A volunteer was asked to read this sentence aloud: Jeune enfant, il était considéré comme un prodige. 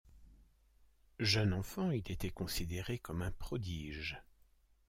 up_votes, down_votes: 2, 0